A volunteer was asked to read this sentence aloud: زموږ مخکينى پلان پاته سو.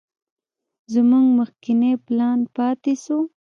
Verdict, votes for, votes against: rejected, 1, 2